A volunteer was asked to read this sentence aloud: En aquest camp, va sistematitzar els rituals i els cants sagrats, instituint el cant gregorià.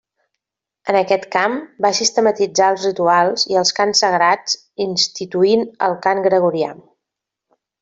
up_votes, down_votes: 2, 0